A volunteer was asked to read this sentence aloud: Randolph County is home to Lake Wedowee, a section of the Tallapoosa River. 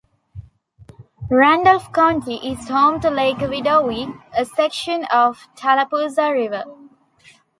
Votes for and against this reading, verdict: 0, 2, rejected